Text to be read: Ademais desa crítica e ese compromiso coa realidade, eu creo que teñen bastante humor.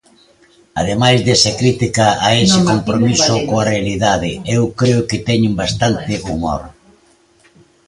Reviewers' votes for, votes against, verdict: 2, 0, accepted